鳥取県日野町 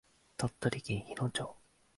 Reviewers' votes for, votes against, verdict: 3, 0, accepted